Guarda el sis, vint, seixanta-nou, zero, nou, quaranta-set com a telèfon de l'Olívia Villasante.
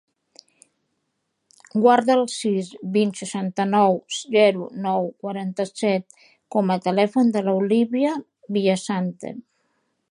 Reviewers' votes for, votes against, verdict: 4, 0, accepted